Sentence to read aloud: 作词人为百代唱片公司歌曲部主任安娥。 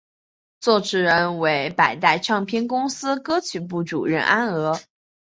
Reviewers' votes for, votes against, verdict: 2, 0, accepted